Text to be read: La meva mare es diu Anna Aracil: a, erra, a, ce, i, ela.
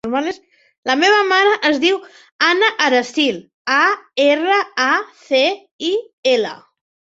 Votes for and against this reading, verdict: 0, 2, rejected